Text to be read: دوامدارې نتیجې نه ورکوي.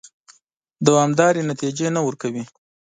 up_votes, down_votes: 2, 1